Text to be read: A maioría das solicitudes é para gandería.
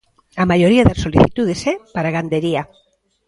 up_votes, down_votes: 2, 1